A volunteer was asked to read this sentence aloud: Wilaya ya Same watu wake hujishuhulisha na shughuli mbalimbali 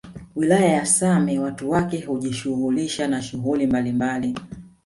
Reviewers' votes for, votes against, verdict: 1, 2, rejected